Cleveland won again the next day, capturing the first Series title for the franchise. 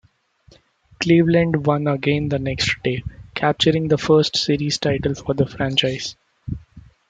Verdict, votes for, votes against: rejected, 0, 2